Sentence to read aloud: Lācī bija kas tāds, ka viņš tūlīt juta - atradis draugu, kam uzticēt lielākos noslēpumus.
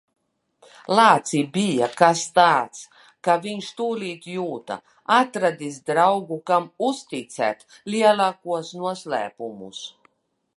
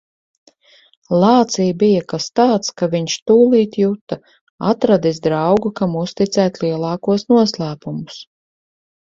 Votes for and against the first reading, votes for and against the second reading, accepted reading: 1, 2, 4, 0, second